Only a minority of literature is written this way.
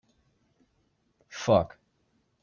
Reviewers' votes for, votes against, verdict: 0, 2, rejected